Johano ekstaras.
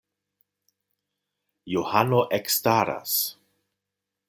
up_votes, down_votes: 2, 0